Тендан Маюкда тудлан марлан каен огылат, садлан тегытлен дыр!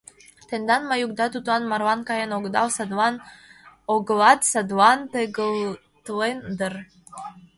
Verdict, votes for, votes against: rejected, 1, 2